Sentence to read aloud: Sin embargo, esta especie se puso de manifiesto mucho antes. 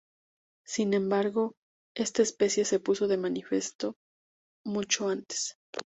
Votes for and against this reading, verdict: 0, 2, rejected